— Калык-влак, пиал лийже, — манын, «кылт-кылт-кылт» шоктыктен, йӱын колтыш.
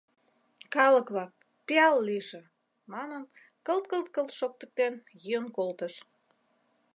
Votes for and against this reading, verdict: 2, 0, accepted